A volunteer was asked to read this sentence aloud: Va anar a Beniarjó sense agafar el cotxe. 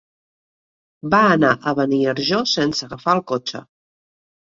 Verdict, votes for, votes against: accepted, 3, 0